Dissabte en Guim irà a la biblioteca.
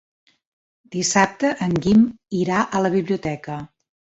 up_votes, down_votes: 3, 0